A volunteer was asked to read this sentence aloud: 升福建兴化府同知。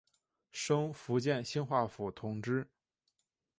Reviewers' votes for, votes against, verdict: 2, 0, accepted